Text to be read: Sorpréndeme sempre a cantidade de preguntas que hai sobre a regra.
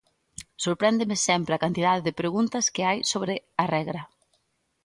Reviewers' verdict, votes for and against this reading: accepted, 2, 0